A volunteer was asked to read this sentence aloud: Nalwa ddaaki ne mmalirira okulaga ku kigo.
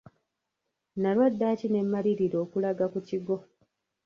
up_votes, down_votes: 1, 2